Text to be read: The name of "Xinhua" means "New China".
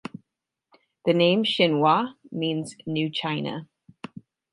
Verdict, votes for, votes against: rejected, 0, 6